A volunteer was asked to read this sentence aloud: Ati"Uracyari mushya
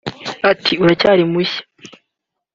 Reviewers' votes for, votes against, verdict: 4, 0, accepted